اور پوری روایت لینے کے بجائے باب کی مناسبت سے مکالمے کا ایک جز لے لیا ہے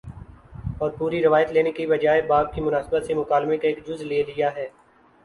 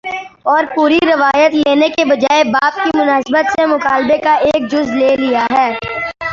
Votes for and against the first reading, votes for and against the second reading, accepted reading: 5, 0, 1, 2, first